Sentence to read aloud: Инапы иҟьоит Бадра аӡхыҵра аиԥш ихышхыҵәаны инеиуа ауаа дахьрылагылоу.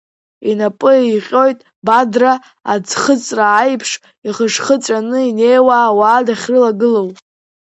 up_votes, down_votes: 1, 2